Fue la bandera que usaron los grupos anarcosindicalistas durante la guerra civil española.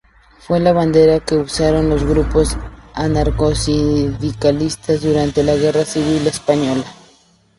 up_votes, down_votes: 0, 2